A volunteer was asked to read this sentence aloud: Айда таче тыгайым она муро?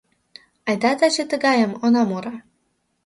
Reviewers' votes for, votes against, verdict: 2, 0, accepted